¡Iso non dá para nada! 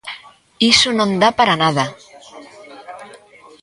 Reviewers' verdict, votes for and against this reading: rejected, 1, 2